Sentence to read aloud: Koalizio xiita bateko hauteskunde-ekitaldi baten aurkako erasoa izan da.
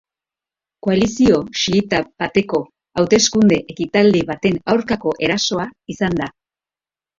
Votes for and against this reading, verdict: 2, 0, accepted